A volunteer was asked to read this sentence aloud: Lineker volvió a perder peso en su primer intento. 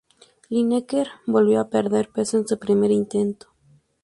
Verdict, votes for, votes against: accepted, 2, 0